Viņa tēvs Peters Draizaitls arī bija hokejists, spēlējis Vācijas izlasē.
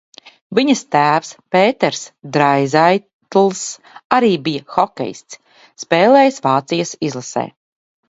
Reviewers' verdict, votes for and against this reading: rejected, 1, 2